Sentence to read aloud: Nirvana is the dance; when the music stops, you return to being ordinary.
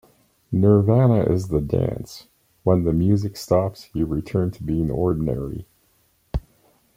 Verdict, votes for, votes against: accepted, 2, 0